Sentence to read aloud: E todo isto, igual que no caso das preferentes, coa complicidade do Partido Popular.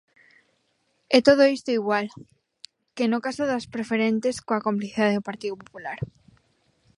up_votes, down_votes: 0, 2